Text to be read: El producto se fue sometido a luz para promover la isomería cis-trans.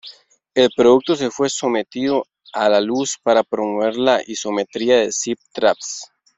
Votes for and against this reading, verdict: 0, 3, rejected